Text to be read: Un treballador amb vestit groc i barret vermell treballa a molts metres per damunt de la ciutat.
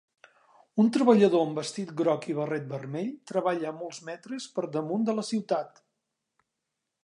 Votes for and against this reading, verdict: 2, 0, accepted